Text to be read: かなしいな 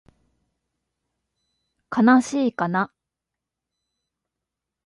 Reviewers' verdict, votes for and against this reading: rejected, 1, 2